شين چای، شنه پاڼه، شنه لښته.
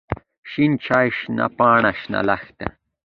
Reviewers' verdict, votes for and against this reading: accepted, 2, 0